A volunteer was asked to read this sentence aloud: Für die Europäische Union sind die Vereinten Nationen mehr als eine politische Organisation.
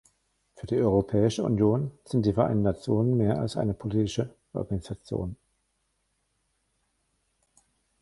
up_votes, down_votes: 1, 2